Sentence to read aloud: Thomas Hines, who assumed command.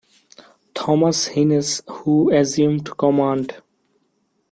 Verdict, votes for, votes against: accepted, 2, 0